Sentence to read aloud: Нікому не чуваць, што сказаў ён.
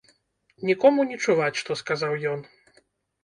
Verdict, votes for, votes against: accepted, 2, 0